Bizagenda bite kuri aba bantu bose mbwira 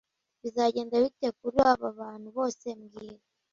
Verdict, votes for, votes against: accepted, 2, 0